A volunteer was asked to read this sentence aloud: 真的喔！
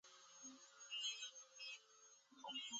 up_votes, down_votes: 0, 2